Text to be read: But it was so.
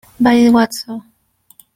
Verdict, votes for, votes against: rejected, 1, 2